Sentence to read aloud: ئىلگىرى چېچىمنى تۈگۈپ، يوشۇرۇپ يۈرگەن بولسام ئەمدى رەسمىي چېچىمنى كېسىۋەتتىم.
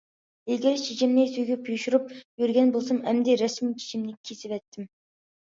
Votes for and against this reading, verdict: 2, 0, accepted